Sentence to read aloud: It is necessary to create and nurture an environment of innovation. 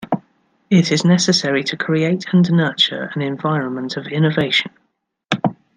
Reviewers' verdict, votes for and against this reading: accepted, 2, 0